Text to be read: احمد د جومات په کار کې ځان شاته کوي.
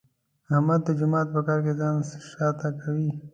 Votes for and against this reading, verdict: 2, 0, accepted